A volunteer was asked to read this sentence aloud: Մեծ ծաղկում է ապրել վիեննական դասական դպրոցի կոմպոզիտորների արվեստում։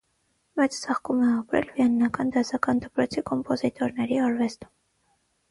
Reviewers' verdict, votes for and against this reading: accepted, 6, 0